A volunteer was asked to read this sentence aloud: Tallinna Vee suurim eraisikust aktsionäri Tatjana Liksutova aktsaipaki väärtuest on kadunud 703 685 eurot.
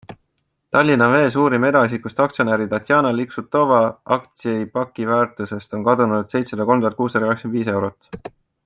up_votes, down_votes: 0, 2